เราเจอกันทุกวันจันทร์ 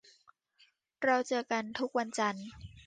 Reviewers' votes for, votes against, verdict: 2, 0, accepted